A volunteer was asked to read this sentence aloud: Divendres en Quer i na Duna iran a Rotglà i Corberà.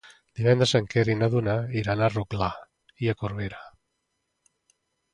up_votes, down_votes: 0, 2